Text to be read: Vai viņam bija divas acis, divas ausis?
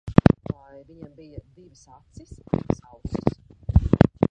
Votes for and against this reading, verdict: 0, 2, rejected